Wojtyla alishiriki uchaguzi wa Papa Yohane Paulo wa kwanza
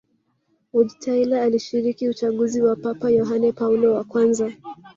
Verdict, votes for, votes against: accepted, 2, 0